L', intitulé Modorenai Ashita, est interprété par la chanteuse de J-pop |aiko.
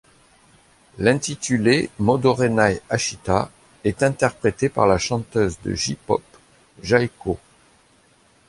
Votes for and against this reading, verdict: 1, 2, rejected